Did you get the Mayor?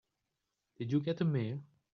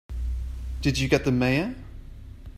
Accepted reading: second